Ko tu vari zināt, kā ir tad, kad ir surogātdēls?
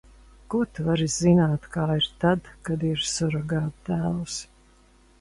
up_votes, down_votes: 2, 0